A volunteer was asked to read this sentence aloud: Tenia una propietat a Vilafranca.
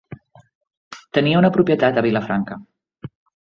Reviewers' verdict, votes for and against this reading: accepted, 3, 0